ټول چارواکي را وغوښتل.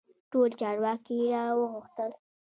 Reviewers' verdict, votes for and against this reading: rejected, 1, 2